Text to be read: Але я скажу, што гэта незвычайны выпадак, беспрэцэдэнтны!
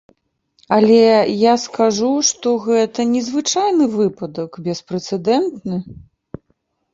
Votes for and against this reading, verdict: 2, 0, accepted